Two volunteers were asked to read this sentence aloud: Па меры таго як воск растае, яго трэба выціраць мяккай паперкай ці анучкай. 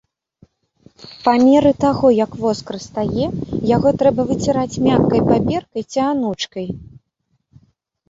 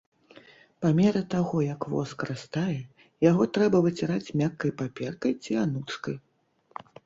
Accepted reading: first